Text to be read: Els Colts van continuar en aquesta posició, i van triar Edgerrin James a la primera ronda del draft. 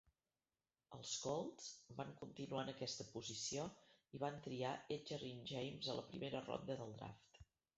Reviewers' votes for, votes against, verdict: 0, 2, rejected